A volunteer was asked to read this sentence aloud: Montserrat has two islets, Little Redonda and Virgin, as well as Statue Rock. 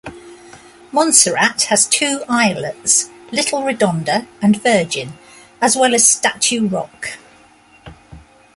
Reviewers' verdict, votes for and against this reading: rejected, 0, 2